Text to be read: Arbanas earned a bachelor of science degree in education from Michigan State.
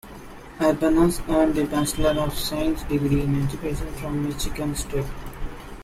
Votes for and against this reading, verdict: 2, 3, rejected